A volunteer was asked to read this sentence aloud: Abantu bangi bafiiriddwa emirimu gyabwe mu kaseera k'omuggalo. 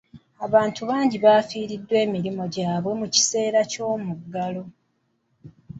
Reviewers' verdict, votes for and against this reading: accepted, 2, 1